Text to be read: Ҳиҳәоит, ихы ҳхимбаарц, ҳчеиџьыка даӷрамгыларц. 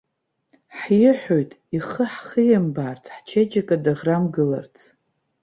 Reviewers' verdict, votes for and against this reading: accepted, 2, 0